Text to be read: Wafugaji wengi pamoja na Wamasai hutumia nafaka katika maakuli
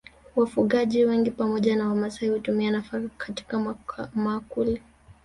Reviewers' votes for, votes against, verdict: 0, 2, rejected